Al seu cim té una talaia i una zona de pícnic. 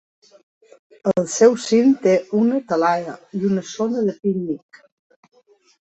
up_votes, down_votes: 2, 0